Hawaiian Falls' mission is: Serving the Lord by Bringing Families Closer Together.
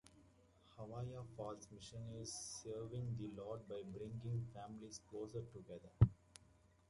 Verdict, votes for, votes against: rejected, 1, 2